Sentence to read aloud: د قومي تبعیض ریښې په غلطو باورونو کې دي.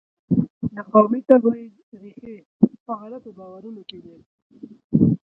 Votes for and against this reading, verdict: 1, 2, rejected